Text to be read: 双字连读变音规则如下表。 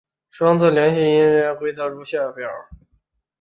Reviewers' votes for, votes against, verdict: 2, 0, accepted